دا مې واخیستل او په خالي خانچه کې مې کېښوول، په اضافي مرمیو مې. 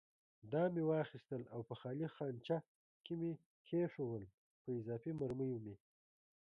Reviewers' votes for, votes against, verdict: 1, 2, rejected